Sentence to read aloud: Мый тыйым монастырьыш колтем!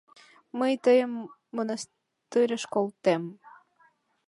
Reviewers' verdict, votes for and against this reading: rejected, 1, 2